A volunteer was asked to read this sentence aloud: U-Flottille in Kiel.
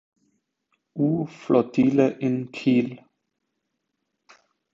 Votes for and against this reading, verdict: 2, 0, accepted